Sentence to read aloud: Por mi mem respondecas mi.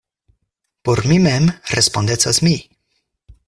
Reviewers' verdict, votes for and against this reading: accepted, 4, 0